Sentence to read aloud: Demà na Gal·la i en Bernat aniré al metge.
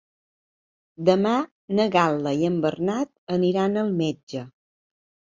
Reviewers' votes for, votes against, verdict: 0, 2, rejected